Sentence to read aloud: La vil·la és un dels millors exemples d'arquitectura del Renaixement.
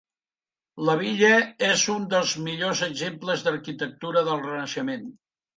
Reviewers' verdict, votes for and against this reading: rejected, 1, 2